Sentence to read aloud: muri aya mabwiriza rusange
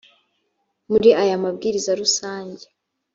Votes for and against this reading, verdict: 2, 0, accepted